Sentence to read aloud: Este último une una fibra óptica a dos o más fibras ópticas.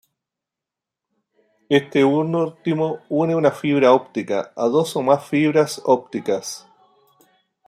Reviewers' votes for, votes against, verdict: 0, 2, rejected